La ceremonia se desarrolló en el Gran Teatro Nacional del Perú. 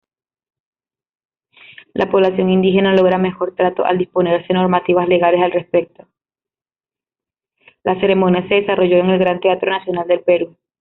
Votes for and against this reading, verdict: 0, 2, rejected